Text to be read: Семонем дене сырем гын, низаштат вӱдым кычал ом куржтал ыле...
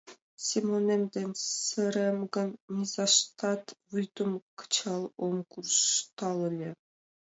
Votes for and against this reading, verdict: 2, 0, accepted